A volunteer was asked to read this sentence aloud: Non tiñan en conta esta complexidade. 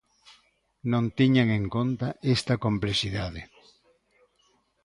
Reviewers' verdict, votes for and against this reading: accepted, 2, 0